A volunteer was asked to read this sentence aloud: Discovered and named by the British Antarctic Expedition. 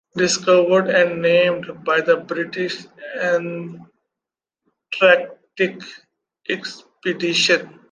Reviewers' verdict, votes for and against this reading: rejected, 1, 2